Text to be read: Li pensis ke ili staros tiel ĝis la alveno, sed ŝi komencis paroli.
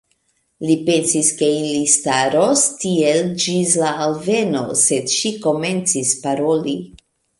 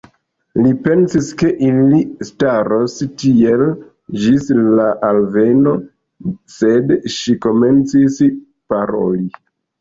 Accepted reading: first